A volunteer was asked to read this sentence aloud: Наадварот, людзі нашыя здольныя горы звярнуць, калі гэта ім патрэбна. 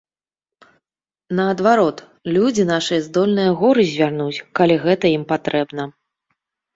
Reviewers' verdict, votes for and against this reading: accepted, 2, 0